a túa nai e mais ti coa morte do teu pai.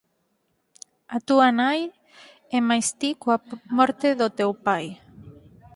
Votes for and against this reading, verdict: 2, 4, rejected